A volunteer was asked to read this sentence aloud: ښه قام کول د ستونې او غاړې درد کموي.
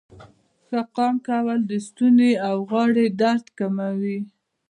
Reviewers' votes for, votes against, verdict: 0, 2, rejected